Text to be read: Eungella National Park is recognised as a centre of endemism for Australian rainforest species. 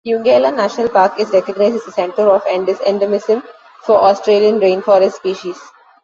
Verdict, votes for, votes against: rejected, 1, 2